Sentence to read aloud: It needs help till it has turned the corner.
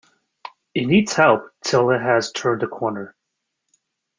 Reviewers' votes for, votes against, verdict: 1, 2, rejected